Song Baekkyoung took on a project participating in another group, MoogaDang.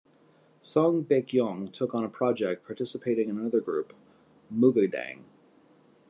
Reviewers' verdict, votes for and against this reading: accepted, 2, 0